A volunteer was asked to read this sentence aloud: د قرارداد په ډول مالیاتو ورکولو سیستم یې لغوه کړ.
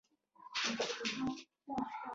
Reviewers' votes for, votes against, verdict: 0, 2, rejected